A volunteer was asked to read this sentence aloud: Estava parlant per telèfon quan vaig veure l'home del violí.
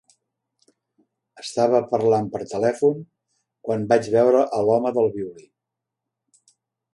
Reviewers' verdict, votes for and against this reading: rejected, 1, 2